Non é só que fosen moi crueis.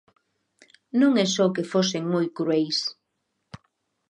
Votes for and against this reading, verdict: 2, 0, accepted